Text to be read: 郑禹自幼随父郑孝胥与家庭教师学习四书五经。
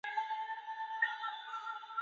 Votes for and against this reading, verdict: 0, 2, rejected